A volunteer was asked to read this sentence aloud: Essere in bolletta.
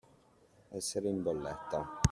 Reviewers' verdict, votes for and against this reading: accepted, 2, 0